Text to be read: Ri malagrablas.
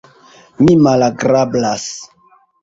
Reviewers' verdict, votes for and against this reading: rejected, 0, 2